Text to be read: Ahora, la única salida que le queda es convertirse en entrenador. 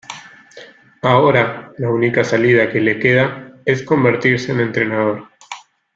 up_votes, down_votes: 2, 1